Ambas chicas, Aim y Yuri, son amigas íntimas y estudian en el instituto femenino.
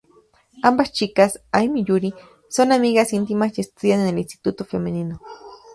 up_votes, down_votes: 2, 0